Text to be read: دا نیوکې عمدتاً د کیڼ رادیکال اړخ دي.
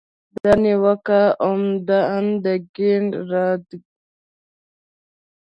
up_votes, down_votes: 1, 2